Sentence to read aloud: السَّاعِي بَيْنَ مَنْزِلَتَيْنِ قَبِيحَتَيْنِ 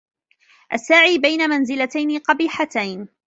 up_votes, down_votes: 3, 0